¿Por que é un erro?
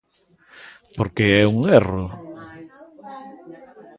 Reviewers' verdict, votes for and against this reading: accepted, 2, 0